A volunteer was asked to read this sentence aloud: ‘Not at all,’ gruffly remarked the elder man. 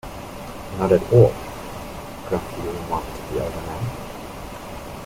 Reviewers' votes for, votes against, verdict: 0, 2, rejected